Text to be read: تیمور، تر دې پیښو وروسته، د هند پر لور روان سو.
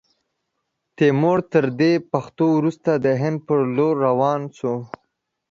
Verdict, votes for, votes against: rejected, 0, 2